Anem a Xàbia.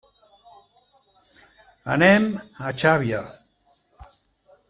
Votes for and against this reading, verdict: 1, 2, rejected